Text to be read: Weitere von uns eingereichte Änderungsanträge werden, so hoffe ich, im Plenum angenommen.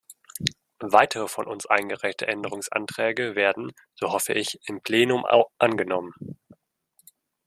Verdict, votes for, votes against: rejected, 0, 2